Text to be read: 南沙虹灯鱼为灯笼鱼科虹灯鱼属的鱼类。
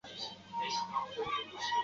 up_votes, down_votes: 1, 2